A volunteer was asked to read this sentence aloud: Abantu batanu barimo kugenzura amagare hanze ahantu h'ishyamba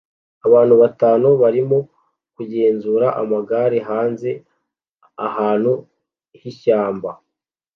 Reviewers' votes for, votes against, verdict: 2, 0, accepted